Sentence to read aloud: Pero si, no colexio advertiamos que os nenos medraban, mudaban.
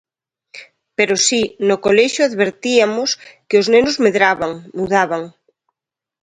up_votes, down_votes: 0, 2